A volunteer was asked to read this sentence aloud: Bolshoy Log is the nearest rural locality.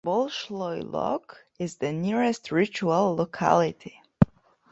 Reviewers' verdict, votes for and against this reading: rejected, 0, 2